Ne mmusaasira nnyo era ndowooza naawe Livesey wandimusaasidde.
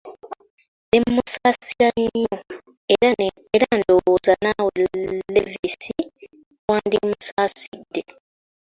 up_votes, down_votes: 0, 2